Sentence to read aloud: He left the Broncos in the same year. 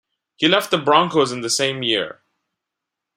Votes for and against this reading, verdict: 2, 0, accepted